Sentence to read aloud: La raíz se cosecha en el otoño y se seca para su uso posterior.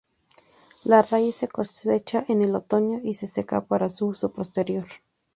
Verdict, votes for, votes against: accepted, 2, 0